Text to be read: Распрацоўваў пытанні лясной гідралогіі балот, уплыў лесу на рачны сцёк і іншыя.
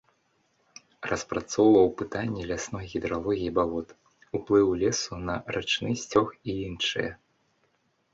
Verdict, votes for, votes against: accepted, 2, 0